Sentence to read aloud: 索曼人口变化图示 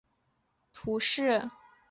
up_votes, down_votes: 0, 2